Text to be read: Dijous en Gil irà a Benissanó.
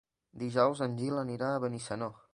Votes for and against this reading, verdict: 2, 1, accepted